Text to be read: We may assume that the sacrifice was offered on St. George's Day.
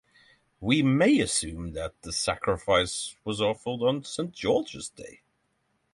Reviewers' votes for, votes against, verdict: 3, 0, accepted